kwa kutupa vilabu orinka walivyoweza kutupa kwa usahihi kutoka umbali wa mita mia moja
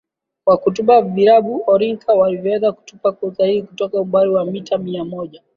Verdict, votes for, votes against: accepted, 14, 0